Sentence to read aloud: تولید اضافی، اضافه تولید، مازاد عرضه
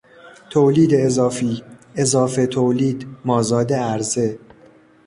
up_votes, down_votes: 2, 0